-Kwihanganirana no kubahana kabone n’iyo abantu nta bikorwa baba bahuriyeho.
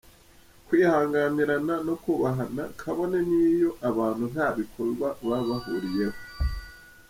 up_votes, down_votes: 2, 0